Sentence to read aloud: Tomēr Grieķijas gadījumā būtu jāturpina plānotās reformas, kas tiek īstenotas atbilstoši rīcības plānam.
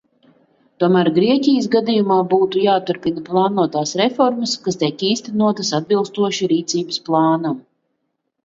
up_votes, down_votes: 2, 0